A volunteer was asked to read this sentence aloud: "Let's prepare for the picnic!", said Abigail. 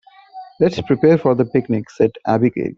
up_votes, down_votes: 1, 2